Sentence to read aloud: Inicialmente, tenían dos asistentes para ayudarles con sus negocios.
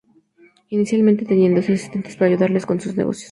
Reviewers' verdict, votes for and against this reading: accepted, 2, 0